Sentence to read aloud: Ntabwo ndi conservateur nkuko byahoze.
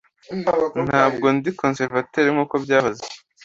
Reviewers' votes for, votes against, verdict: 2, 1, accepted